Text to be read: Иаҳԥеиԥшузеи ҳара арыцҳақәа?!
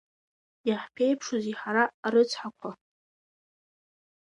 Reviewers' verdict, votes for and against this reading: accepted, 2, 0